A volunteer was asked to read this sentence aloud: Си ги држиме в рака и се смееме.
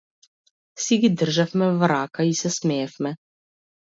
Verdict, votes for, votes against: rejected, 1, 2